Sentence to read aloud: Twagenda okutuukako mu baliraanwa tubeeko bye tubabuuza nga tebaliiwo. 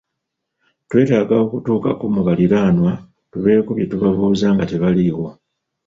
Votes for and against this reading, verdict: 1, 2, rejected